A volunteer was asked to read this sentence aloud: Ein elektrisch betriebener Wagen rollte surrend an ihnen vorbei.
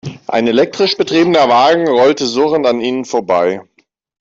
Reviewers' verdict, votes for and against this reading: accepted, 2, 0